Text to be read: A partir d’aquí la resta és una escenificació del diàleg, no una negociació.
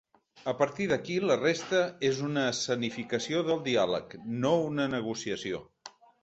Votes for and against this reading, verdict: 3, 0, accepted